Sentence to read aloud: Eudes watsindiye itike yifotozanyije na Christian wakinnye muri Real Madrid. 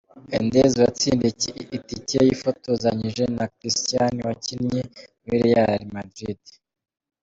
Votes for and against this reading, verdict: 0, 2, rejected